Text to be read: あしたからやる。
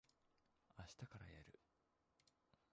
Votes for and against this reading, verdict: 0, 2, rejected